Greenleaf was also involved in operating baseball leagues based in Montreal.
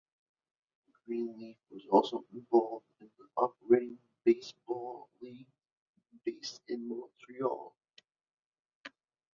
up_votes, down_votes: 0, 2